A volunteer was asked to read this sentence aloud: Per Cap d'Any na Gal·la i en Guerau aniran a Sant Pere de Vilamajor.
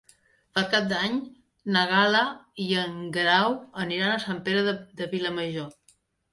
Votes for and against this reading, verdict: 2, 1, accepted